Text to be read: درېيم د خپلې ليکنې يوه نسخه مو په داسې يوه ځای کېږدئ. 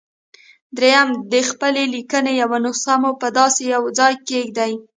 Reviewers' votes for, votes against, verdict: 3, 1, accepted